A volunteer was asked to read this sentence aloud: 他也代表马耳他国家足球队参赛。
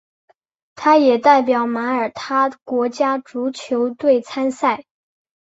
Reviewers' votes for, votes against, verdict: 2, 1, accepted